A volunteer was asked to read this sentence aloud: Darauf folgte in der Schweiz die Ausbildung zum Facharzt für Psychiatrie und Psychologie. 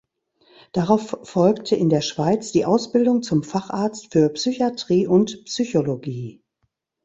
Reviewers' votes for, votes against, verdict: 1, 2, rejected